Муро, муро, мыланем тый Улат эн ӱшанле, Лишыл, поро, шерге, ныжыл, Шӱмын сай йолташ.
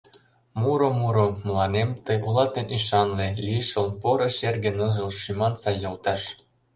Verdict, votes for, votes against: rejected, 1, 2